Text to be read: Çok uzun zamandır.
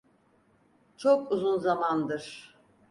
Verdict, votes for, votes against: accepted, 4, 0